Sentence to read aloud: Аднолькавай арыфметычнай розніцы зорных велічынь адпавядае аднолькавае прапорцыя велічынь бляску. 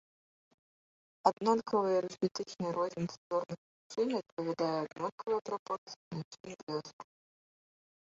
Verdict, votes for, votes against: rejected, 0, 2